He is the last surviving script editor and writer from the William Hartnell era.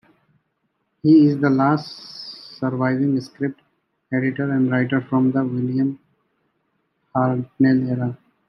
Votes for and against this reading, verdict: 1, 2, rejected